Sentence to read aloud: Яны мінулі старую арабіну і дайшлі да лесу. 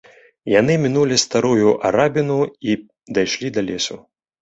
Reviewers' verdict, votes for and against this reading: accepted, 2, 0